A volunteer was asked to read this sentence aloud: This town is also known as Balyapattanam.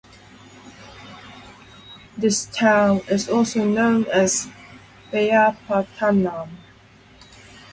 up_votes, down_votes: 4, 0